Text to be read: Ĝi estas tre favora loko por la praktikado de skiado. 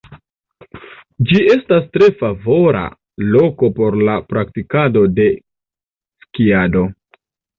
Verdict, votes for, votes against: rejected, 1, 2